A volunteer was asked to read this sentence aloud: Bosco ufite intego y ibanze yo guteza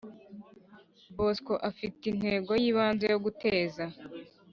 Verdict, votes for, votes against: rejected, 1, 2